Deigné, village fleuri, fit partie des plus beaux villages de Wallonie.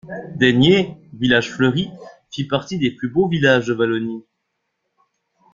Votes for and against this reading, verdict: 2, 0, accepted